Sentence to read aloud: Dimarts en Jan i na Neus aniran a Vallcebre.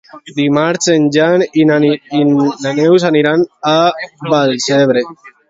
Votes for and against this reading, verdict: 2, 0, accepted